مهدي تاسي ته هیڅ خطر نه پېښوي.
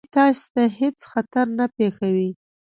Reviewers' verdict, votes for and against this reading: rejected, 1, 2